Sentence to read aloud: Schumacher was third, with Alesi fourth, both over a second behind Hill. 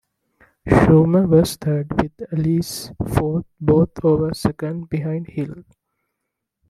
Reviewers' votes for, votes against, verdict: 1, 3, rejected